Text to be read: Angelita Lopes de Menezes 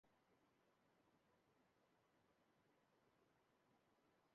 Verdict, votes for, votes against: rejected, 0, 2